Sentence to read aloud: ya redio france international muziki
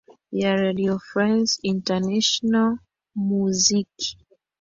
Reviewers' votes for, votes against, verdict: 0, 2, rejected